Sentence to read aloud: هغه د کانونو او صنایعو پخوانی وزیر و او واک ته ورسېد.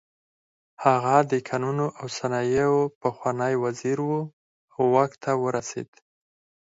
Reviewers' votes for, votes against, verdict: 2, 4, rejected